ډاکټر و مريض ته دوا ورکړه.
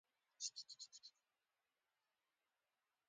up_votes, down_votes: 1, 2